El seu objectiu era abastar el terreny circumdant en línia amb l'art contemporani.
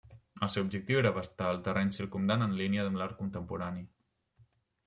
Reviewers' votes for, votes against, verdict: 1, 2, rejected